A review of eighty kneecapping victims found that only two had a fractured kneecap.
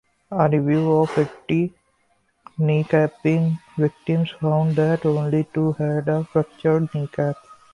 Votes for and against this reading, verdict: 2, 0, accepted